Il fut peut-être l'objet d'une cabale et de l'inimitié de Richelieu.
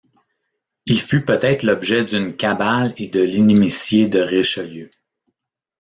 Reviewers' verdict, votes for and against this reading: rejected, 1, 2